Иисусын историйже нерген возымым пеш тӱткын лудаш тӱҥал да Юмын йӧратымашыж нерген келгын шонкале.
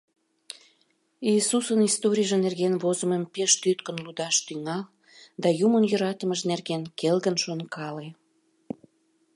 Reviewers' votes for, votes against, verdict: 1, 2, rejected